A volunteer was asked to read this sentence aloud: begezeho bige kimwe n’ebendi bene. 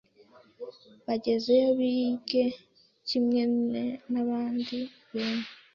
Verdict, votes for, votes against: rejected, 1, 2